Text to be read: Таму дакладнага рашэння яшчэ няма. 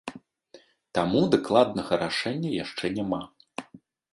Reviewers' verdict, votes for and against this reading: accepted, 2, 0